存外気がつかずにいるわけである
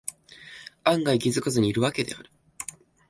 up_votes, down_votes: 2, 3